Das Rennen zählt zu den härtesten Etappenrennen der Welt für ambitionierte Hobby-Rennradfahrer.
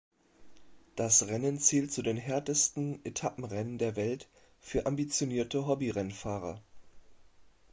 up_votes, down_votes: 1, 2